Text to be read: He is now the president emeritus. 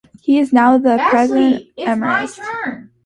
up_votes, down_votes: 0, 2